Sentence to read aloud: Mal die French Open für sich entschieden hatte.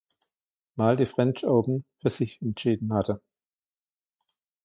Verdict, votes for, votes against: accepted, 2, 1